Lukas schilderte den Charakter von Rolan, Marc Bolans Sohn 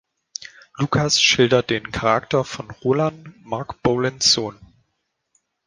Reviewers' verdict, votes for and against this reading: rejected, 1, 2